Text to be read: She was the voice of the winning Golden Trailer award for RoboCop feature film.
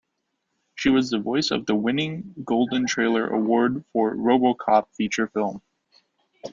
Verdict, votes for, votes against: accepted, 2, 0